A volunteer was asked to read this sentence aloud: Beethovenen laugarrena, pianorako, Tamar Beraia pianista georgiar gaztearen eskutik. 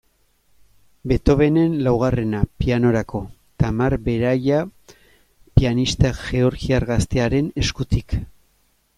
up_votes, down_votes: 2, 0